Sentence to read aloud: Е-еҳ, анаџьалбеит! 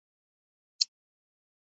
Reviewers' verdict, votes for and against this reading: rejected, 1, 2